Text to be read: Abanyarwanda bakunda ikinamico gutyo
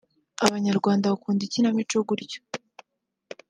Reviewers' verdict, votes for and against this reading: rejected, 0, 2